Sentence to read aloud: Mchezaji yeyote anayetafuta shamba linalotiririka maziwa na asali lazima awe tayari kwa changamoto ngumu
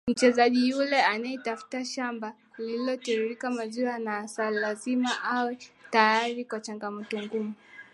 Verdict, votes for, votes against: accepted, 13, 5